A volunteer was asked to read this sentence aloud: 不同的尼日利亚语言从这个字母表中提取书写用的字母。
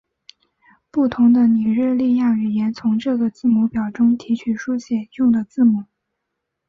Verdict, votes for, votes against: accepted, 2, 0